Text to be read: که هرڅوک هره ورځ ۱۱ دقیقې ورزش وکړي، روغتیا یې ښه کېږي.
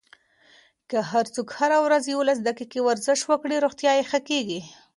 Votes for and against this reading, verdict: 0, 2, rejected